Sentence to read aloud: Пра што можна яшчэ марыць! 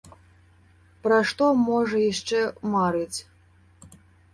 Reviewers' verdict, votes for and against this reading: rejected, 0, 2